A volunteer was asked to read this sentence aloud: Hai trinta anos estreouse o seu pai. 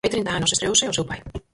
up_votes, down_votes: 0, 4